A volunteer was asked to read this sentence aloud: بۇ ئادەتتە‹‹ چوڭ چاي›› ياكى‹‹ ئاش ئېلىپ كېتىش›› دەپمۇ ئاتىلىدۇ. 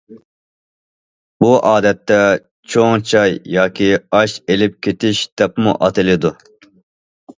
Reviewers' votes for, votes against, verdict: 1, 2, rejected